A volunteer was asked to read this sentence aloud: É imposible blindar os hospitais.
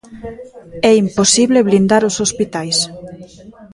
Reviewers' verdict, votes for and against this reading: rejected, 0, 2